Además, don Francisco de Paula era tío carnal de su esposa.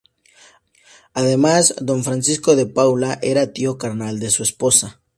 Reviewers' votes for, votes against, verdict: 2, 0, accepted